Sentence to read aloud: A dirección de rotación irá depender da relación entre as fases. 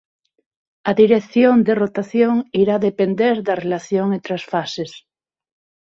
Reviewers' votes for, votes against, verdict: 6, 0, accepted